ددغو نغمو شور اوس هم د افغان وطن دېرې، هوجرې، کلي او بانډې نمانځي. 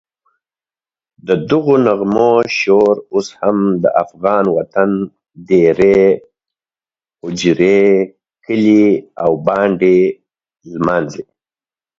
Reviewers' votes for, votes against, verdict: 2, 0, accepted